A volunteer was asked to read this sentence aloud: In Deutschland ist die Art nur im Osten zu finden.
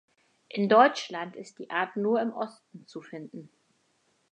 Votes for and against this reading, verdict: 4, 0, accepted